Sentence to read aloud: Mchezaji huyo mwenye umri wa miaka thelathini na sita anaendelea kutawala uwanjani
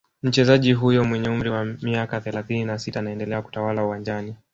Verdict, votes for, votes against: rejected, 1, 2